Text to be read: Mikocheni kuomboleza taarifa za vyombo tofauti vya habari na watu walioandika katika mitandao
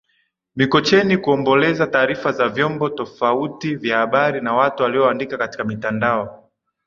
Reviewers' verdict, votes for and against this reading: accepted, 2, 1